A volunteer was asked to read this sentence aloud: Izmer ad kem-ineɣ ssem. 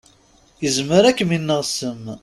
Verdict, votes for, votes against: accepted, 2, 0